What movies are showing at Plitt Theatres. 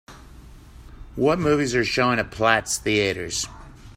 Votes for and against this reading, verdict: 2, 0, accepted